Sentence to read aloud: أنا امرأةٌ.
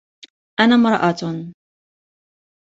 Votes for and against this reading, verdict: 3, 0, accepted